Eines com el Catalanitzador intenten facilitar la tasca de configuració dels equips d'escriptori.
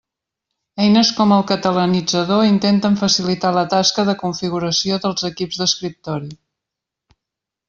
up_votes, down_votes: 3, 0